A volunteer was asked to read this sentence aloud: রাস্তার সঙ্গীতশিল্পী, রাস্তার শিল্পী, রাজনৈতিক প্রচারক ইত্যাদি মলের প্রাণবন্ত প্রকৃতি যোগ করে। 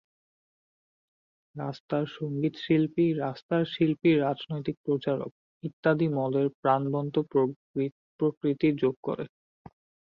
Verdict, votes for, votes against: rejected, 4, 11